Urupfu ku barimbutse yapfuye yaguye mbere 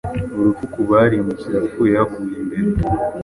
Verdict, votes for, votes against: accepted, 2, 0